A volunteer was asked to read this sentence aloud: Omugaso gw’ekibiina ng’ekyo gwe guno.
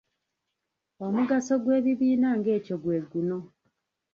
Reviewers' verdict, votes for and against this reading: rejected, 0, 2